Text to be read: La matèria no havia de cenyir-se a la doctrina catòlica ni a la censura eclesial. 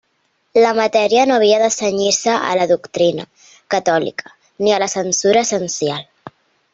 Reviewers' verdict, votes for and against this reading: rejected, 0, 2